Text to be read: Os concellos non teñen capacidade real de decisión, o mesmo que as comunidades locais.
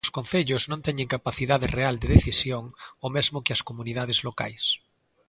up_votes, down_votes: 2, 0